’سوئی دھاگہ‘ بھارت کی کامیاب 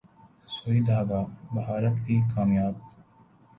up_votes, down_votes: 2, 0